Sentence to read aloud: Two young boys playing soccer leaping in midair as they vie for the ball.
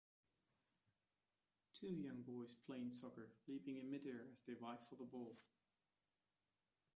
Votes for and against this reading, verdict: 0, 2, rejected